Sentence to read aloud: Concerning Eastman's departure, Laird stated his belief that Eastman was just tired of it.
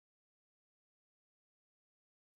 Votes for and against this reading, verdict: 0, 2, rejected